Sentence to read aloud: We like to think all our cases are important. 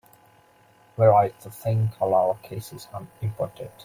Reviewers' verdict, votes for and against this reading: accepted, 2, 0